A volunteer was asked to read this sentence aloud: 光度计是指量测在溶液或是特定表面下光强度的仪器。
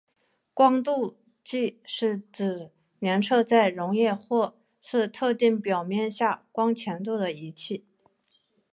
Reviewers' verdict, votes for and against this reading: accepted, 8, 1